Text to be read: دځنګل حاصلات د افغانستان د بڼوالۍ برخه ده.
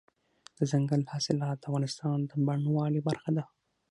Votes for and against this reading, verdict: 6, 0, accepted